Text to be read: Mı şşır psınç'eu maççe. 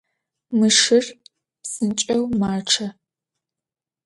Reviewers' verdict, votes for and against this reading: accepted, 2, 0